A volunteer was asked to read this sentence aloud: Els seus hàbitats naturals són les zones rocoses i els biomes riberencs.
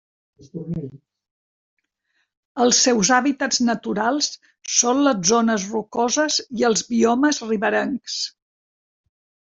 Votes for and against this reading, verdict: 2, 1, accepted